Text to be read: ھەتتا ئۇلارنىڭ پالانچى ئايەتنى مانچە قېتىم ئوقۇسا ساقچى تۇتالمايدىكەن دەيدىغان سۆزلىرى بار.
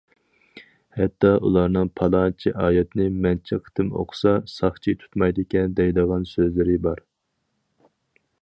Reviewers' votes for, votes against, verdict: 2, 2, rejected